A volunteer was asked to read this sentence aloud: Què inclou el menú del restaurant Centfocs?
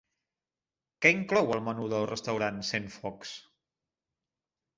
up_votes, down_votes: 2, 0